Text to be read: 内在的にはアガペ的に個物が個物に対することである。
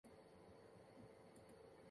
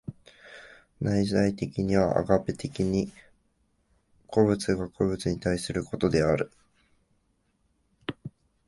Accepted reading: second